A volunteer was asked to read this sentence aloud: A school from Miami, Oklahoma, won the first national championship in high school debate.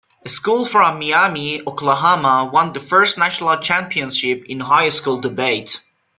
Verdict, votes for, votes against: accepted, 2, 1